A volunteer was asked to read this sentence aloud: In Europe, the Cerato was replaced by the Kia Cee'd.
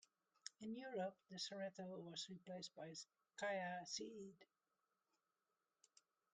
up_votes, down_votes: 0, 2